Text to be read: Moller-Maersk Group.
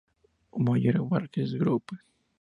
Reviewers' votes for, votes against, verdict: 2, 0, accepted